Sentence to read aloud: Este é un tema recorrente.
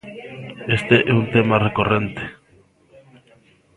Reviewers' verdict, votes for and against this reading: rejected, 0, 2